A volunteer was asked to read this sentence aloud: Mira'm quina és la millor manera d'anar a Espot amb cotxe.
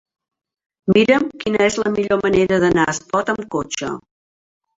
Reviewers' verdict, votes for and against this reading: rejected, 0, 3